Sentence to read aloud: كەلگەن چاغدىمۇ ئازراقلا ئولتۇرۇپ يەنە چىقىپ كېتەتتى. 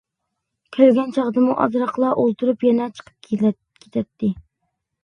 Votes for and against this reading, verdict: 0, 2, rejected